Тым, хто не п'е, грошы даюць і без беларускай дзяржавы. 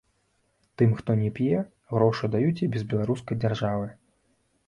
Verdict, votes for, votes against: accepted, 2, 0